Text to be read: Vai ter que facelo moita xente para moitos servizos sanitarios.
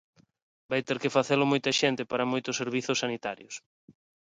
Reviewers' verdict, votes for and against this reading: accepted, 2, 0